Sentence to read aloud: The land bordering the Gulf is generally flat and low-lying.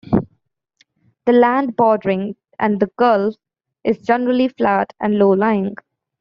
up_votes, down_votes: 0, 2